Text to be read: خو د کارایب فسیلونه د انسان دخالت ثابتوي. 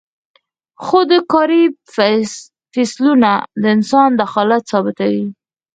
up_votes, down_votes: 0, 4